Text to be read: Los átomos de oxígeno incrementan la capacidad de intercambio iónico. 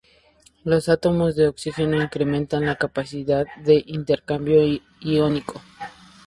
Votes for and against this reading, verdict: 0, 2, rejected